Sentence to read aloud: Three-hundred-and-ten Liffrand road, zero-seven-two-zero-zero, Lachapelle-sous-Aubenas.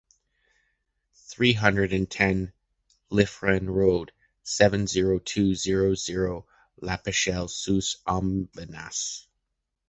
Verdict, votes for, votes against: rejected, 0, 2